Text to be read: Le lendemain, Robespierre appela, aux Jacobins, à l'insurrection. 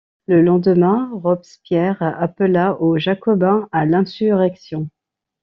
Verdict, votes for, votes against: rejected, 0, 2